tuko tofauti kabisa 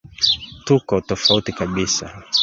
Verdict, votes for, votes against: accepted, 2, 1